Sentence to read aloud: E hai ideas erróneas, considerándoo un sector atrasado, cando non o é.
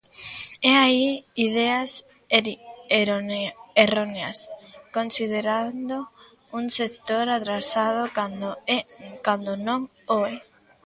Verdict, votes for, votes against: rejected, 0, 3